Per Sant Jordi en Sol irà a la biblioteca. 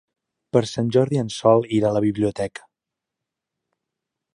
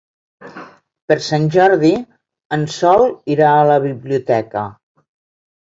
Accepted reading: first